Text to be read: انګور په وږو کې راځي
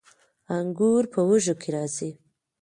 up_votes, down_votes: 2, 0